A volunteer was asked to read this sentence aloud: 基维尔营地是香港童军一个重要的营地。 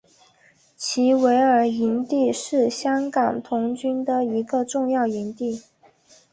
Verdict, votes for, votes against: accepted, 2, 0